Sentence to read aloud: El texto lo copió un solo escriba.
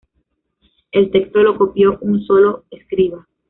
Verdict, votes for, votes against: accepted, 2, 0